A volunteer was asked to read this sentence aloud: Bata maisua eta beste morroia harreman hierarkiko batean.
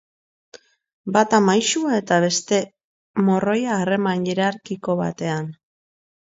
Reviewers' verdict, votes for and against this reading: accepted, 2, 0